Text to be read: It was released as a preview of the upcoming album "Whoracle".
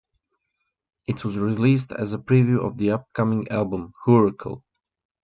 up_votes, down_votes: 2, 1